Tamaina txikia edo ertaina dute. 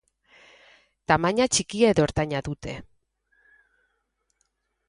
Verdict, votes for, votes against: rejected, 2, 2